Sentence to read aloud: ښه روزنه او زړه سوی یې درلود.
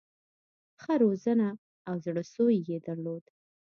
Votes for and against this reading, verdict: 2, 1, accepted